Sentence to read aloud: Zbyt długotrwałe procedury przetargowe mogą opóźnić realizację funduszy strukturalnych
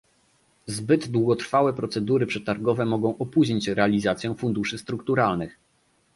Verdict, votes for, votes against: accepted, 2, 0